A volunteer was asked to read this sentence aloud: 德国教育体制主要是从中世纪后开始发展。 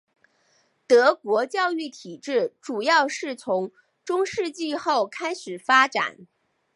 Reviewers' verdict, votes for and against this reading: accepted, 2, 0